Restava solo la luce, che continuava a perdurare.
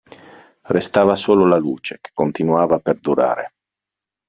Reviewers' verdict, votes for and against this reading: accepted, 2, 0